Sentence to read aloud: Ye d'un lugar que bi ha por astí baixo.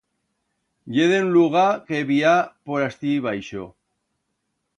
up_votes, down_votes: 1, 2